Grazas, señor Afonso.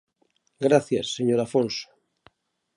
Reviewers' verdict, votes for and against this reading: rejected, 0, 2